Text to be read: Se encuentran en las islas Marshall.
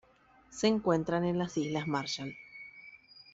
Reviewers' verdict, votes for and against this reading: accepted, 2, 0